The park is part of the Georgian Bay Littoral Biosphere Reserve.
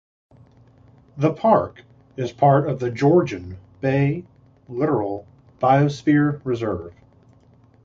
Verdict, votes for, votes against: accepted, 2, 0